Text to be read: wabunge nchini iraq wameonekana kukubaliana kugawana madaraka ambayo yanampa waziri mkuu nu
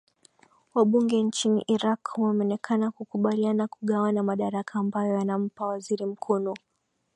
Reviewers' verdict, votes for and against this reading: accepted, 2, 0